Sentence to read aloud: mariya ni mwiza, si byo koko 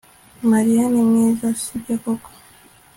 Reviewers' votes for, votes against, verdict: 2, 0, accepted